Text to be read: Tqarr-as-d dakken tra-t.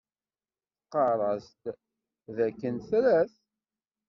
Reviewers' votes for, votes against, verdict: 2, 0, accepted